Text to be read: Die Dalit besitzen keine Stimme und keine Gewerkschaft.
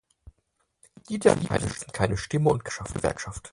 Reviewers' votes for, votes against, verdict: 0, 4, rejected